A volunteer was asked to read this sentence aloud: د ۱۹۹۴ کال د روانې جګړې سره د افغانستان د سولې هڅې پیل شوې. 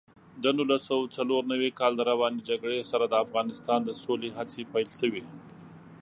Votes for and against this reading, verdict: 0, 2, rejected